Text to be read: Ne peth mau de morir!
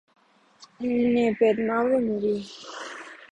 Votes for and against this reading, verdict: 0, 2, rejected